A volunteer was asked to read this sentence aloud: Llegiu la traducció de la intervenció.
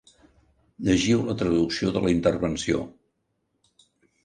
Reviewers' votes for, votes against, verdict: 2, 0, accepted